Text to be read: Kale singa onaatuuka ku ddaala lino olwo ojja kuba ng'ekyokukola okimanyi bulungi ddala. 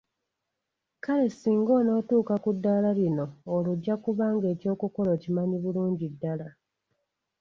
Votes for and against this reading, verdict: 2, 0, accepted